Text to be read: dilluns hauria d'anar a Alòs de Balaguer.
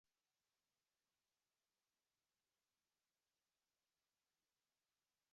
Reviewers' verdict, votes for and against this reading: rejected, 0, 2